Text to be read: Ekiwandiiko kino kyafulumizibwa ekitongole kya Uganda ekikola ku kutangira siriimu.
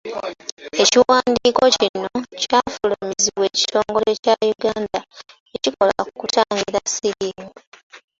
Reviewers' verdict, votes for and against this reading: rejected, 0, 2